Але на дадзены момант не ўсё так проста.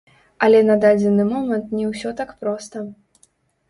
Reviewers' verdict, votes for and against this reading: rejected, 1, 2